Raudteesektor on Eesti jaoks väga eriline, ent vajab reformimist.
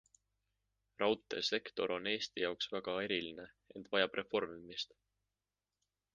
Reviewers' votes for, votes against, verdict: 2, 0, accepted